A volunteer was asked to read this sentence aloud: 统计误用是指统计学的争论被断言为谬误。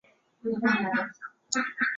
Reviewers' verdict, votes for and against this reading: rejected, 1, 2